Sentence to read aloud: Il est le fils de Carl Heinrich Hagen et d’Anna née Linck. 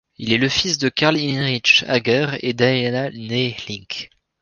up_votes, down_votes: 1, 2